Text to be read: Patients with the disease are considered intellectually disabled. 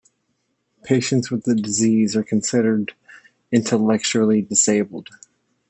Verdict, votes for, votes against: rejected, 0, 2